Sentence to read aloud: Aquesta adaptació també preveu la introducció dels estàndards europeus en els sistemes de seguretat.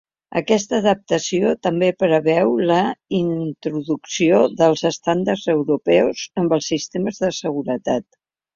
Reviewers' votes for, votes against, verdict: 1, 2, rejected